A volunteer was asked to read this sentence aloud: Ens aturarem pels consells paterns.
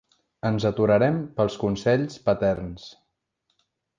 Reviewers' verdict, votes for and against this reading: accepted, 4, 0